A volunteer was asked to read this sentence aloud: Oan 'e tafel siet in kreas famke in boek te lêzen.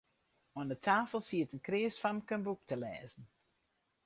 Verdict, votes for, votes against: rejected, 0, 2